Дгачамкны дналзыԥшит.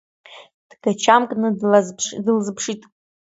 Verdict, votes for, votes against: rejected, 1, 2